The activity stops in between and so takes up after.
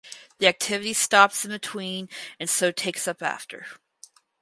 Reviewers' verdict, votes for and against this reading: rejected, 2, 2